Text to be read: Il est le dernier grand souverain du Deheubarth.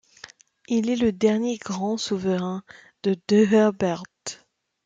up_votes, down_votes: 0, 2